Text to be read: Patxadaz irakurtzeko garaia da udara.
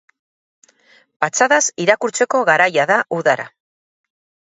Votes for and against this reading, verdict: 2, 4, rejected